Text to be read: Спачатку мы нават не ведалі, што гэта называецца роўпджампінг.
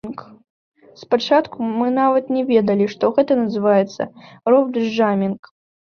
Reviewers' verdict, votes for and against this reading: accepted, 2, 1